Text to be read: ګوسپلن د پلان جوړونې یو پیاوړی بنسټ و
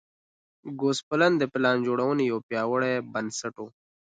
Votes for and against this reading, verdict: 2, 0, accepted